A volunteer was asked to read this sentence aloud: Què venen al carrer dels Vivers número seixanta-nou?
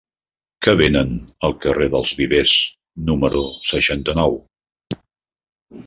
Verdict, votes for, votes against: rejected, 1, 2